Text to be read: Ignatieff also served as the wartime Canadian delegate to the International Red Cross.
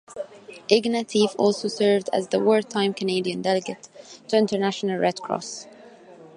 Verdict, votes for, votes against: rejected, 0, 2